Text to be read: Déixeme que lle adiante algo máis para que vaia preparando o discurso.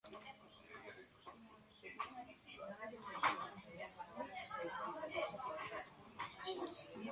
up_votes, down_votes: 0, 2